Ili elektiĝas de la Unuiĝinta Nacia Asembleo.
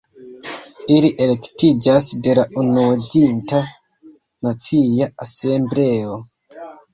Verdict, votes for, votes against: accepted, 2, 0